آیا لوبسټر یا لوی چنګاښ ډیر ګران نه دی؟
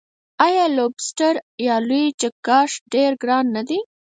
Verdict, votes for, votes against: rejected, 0, 4